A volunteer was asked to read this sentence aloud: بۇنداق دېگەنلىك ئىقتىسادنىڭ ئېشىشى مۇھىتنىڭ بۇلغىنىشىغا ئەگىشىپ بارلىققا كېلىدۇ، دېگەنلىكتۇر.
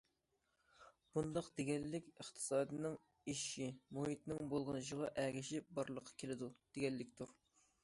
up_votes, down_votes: 2, 0